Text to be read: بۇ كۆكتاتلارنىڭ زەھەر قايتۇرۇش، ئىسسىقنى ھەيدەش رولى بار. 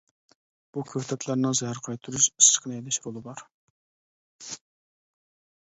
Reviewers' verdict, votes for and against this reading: rejected, 0, 2